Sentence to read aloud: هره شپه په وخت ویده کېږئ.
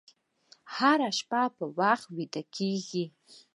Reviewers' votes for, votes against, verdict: 4, 1, accepted